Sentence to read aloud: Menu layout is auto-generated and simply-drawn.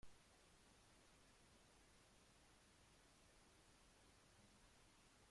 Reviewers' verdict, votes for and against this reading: rejected, 0, 2